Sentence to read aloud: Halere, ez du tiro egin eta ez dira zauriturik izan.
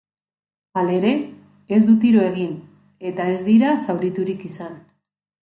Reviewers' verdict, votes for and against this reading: accepted, 2, 0